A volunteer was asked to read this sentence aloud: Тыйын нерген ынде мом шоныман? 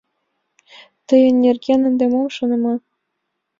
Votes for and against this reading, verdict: 2, 0, accepted